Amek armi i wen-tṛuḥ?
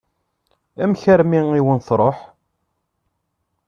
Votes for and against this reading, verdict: 2, 0, accepted